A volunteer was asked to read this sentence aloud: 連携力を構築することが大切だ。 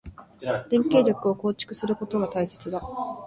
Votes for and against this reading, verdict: 2, 0, accepted